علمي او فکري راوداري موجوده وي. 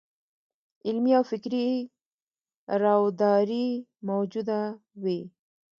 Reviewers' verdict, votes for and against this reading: rejected, 0, 2